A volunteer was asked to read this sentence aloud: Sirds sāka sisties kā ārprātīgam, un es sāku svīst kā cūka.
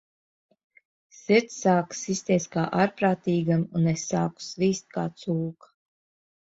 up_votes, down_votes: 2, 0